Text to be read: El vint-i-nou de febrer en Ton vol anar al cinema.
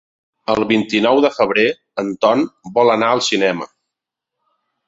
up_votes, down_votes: 3, 0